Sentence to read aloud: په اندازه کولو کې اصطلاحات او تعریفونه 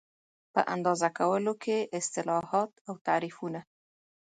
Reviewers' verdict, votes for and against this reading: accepted, 2, 0